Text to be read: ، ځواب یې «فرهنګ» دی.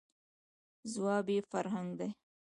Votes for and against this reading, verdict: 2, 1, accepted